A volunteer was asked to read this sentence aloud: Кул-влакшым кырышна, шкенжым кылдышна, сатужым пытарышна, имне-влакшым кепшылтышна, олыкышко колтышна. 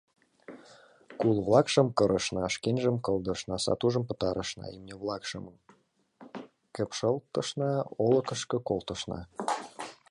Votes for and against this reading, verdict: 2, 0, accepted